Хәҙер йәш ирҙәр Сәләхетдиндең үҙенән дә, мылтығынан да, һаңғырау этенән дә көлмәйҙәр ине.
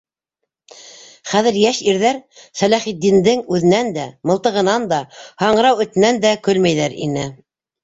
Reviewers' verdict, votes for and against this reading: accepted, 2, 1